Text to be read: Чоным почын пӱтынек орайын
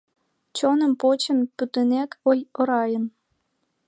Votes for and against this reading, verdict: 0, 2, rejected